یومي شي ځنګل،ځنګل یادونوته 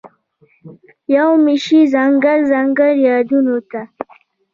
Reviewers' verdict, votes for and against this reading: rejected, 1, 2